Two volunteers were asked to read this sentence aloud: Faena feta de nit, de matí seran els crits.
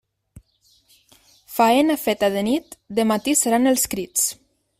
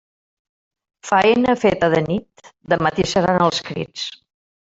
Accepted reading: first